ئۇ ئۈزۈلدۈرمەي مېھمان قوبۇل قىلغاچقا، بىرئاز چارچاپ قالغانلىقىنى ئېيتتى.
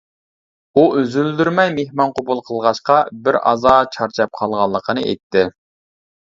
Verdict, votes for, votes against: rejected, 0, 2